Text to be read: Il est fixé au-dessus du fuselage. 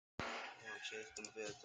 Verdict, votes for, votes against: rejected, 0, 2